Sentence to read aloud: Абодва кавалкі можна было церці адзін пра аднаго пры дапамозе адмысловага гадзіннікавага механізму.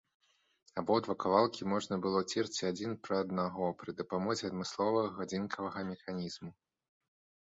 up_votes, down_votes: 1, 2